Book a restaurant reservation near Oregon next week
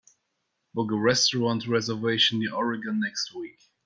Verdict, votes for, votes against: accepted, 2, 0